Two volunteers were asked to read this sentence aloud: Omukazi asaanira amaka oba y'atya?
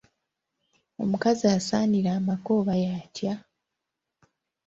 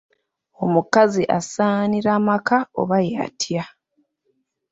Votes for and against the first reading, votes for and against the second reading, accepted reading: 2, 0, 0, 2, first